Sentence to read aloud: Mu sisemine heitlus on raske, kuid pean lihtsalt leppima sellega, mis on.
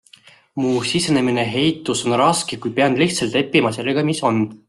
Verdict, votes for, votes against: rejected, 1, 2